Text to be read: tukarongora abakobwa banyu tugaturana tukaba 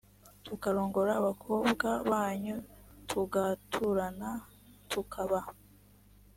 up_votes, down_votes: 3, 0